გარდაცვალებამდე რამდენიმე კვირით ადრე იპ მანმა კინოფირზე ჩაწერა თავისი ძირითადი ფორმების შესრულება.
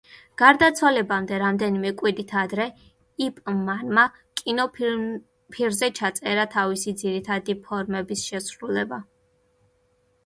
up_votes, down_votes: 1, 2